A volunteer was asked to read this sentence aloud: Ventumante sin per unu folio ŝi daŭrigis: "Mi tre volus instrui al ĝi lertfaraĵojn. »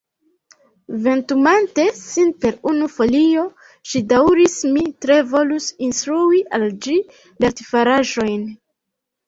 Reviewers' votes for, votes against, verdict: 2, 3, rejected